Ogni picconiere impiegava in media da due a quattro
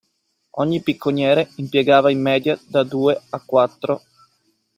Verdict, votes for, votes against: accepted, 2, 0